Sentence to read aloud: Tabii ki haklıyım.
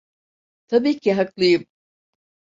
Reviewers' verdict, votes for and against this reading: accepted, 2, 0